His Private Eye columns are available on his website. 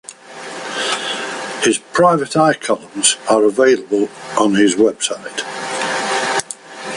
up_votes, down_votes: 3, 0